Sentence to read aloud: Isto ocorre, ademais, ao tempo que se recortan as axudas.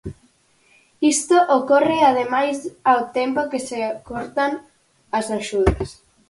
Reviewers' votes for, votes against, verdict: 0, 4, rejected